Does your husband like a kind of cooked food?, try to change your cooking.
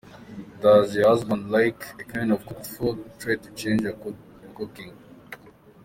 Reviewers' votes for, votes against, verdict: 2, 1, accepted